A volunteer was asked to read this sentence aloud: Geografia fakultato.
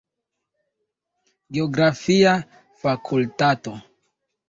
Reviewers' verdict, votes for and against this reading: accepted, 2, 0